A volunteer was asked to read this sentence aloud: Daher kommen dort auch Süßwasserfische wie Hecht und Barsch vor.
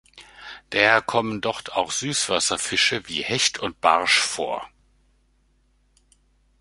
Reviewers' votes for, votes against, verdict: 1, 2, rejected